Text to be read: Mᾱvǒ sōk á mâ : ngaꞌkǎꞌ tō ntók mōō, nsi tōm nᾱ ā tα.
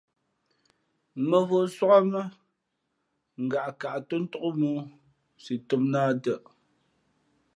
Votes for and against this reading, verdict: 3, 0, accepted